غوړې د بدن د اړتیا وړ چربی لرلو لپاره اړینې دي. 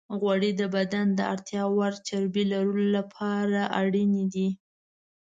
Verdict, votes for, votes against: accepted, 2, 0